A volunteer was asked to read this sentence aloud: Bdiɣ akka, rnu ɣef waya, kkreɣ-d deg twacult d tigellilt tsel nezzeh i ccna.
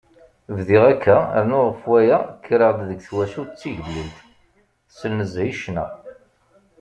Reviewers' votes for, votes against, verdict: 2, 0, accepted